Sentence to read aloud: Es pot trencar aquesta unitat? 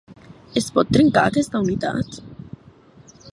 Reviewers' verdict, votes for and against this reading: accepted, 2, 0